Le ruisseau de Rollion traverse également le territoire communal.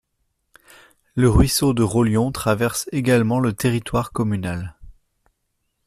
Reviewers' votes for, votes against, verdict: 2, 0, accepted